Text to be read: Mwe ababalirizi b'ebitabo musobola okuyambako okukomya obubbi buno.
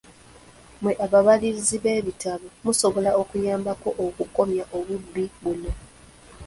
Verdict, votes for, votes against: accepted, 2, 0